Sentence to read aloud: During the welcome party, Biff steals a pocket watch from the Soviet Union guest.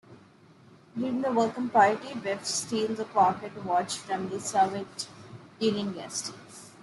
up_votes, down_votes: 0, 2